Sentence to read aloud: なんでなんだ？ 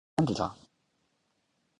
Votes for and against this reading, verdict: 0, 2, rejected